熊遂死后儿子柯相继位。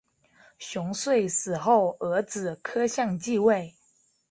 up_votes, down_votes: 6, 3